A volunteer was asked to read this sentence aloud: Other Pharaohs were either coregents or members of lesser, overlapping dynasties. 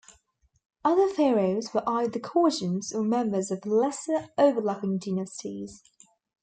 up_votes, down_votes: 1, 2